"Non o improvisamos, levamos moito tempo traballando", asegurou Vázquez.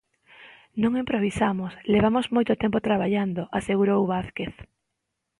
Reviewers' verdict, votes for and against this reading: rejected, 1, 2